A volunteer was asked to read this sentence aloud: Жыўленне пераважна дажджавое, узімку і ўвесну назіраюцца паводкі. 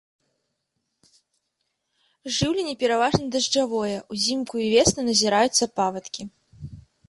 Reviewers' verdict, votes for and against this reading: rejected, 1, 2